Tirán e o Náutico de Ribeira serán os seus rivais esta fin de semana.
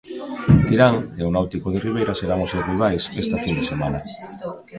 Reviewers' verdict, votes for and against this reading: rejected, 0, 2